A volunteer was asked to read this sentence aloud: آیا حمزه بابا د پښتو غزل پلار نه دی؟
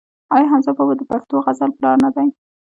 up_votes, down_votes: 1, 2